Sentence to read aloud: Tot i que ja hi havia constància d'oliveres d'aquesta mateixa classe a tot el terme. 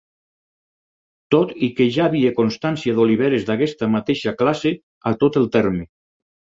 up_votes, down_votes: 2, 4